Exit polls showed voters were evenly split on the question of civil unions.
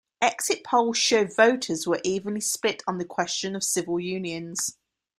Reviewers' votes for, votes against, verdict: 2, 0, accepted